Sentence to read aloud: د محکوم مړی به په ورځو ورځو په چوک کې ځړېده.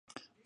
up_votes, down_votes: 1, 2